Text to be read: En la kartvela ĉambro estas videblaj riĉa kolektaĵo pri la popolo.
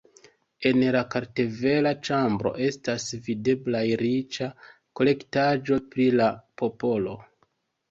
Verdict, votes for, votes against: accepted, 2, 0